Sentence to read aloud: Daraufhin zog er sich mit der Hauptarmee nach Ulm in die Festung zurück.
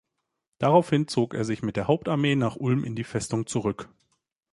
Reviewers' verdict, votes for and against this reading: accepted, 2, 0